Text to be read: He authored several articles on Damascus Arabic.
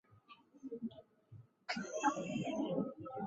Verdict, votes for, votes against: rejected, 0, 2